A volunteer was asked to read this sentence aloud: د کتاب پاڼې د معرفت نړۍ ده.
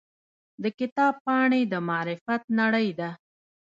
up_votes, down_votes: 0, 2